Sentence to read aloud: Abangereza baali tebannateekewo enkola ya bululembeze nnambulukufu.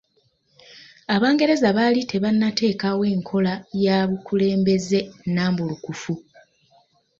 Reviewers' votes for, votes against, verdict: 2, 0, accepted